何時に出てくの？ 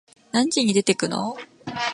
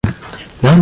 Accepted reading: first